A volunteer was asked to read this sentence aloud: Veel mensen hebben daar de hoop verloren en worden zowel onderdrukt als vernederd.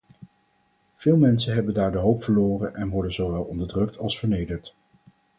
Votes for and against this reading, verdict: 4, 0, accepted